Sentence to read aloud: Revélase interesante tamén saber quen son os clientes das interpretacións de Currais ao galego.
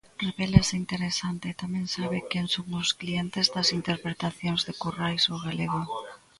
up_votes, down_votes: 0, 2